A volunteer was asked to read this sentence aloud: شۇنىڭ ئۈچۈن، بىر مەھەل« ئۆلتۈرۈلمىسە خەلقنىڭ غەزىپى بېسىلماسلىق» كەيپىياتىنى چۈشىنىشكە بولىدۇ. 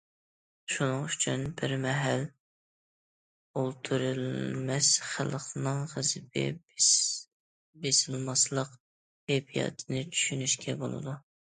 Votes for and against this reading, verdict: 0, 2, rejected